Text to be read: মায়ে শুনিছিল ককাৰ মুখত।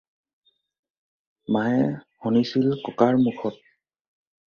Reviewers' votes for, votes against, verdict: 4, 0, accepted